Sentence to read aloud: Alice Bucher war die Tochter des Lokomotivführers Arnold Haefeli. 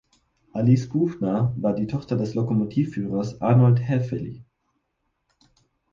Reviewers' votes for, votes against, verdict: 2, 4, rejected